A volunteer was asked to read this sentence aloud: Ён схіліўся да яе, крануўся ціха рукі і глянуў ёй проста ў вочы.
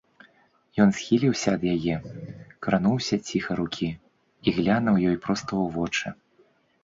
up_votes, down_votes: 1, 2